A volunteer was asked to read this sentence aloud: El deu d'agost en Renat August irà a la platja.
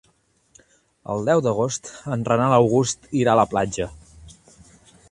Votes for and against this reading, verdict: 0, 2, rejected